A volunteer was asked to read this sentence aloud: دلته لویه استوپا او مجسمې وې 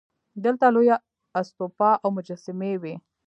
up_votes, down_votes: 2, 4